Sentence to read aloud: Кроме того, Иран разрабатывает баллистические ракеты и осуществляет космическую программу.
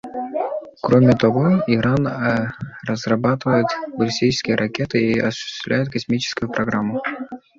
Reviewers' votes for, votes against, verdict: 2, 0, accepted